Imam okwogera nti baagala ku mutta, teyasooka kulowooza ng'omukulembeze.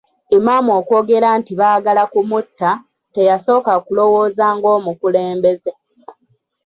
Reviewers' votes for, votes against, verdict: 2, 0, accepted